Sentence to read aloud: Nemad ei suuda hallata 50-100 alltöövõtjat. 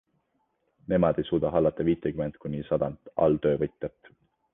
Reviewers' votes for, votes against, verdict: 0, 2, rejected